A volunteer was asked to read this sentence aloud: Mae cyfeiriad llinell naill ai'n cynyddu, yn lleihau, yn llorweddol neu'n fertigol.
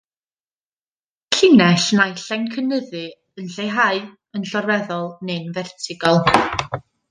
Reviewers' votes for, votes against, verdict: 0, 2, rejected